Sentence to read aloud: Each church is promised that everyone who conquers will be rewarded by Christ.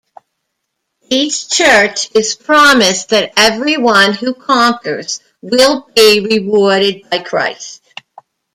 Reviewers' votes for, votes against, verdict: 1, 2, rejected